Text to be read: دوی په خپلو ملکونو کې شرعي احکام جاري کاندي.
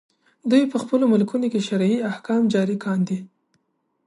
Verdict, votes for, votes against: accepted, 2, 0